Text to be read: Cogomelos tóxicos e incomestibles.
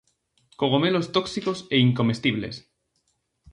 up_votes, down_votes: 2, 0